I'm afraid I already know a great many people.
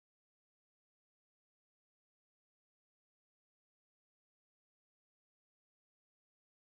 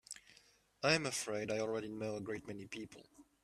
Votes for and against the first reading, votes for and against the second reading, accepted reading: 0, 2, 2, 1, second